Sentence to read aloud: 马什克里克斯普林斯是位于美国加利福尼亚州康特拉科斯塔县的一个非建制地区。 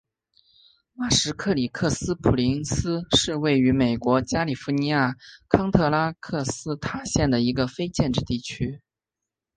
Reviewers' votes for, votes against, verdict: 3, 1, accepted